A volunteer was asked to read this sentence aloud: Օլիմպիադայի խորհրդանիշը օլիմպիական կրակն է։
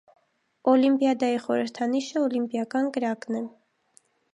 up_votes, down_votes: 1, 2